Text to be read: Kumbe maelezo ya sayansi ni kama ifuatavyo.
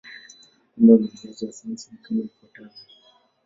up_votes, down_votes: 0, 2